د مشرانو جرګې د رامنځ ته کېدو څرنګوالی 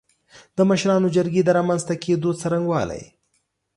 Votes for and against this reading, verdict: 2, 0, accepted